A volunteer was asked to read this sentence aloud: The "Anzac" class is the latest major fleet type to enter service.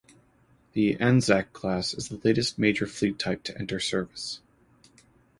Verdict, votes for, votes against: accepted, 2, 0